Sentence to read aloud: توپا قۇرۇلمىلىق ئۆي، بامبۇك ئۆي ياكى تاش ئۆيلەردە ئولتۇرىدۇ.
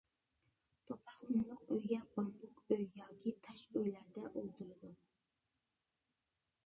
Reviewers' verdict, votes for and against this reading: rejected, 0, 2